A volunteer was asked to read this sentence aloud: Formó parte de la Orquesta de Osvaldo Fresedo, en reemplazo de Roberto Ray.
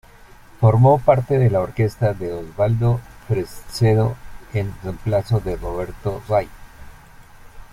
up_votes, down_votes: 2, 1